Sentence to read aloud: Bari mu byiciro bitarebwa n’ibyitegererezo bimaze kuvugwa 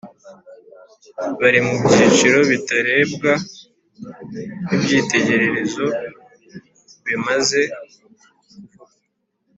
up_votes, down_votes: 2, 1